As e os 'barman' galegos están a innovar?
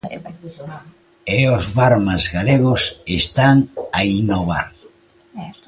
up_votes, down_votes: 0, 2